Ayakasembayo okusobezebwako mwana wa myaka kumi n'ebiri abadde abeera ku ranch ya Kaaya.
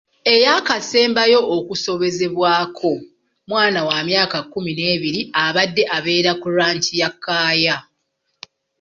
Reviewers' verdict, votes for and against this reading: accepted, 2, 0